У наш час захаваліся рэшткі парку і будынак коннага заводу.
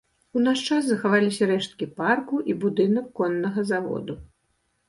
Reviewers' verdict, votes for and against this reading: accepted, 2, 0